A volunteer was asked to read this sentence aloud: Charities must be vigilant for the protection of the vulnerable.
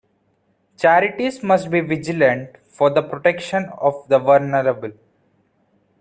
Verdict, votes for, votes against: accepted, 2, 0